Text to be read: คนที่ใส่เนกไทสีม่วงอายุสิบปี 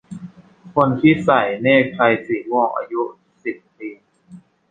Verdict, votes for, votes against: rejected, 1, 2